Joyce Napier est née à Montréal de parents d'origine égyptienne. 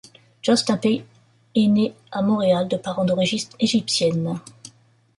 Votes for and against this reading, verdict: 1, 2, rejected